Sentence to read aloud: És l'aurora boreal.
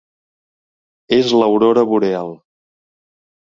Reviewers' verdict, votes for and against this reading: accepted, 2, 0